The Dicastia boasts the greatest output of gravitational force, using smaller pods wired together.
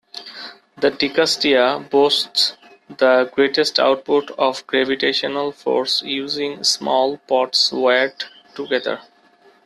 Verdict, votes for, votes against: rejected, 0, 2